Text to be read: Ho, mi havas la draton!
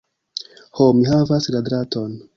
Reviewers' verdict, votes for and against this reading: accepted, 2, 0